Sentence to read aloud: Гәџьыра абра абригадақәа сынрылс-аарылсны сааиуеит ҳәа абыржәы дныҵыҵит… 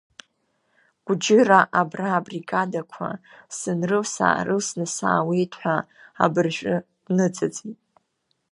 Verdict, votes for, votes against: accepted, 2, 0